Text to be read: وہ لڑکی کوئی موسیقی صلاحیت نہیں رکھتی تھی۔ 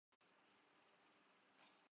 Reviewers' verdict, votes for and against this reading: rejected, 0, 3